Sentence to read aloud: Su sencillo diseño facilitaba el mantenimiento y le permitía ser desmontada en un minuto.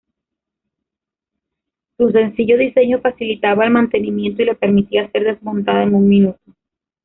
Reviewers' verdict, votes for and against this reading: rejected, 1, 2